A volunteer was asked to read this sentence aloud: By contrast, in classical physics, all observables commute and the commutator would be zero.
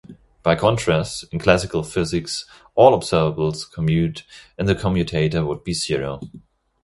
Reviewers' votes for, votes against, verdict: 2, 0, accepted